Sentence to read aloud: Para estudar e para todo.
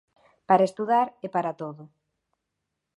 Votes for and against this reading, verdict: 2, 0, accepted